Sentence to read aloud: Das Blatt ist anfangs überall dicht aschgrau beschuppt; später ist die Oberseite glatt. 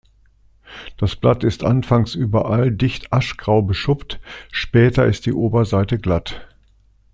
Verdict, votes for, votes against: accepted, 2, 0